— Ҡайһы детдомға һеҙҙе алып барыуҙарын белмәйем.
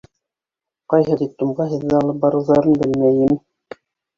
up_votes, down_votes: 1, 2